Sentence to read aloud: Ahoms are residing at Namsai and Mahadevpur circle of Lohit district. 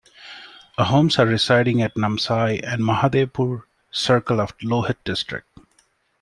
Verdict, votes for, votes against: accepted, 2, 0